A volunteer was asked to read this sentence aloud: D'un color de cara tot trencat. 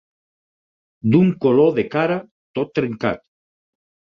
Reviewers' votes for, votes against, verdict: 6, 0, accepted